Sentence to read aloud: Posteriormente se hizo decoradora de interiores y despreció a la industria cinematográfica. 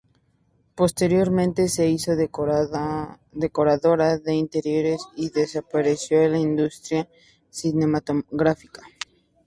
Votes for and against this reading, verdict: 0, 2, rejected